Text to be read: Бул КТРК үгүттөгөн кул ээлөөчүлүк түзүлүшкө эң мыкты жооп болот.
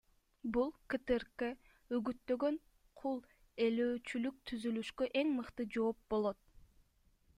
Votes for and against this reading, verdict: 2, 0, accepted